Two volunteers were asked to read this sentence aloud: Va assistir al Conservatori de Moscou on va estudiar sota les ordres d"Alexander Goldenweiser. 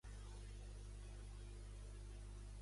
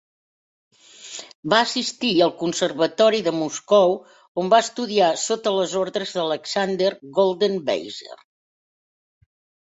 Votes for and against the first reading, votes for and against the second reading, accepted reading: 0, 2, 2, 0, second